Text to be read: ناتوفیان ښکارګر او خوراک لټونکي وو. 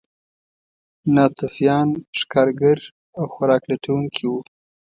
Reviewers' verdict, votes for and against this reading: accepted, 2, 0